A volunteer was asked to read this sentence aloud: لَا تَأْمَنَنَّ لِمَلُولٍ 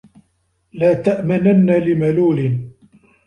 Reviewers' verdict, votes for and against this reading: accepted, 2, 0